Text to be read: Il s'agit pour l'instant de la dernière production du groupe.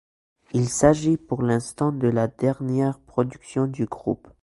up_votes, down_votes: 2, 0